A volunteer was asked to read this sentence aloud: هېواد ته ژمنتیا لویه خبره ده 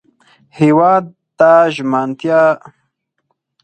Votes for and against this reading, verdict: 2, 4, rejected